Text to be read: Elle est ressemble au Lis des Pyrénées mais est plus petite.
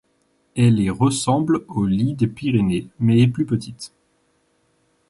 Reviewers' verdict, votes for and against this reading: rejected, 1, 2